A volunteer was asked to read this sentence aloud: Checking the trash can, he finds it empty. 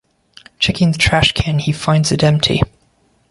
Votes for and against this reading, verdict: 2, 0, accepted